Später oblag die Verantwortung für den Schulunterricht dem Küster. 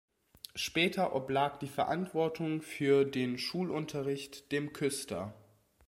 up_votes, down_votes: 2, 0